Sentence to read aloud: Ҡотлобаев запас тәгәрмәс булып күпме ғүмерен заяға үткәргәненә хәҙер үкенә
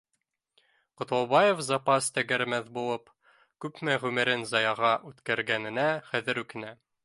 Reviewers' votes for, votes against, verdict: 2, 0, accepted